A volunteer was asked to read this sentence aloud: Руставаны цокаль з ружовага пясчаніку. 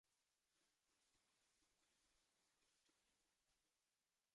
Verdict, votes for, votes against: rejected, 0, 2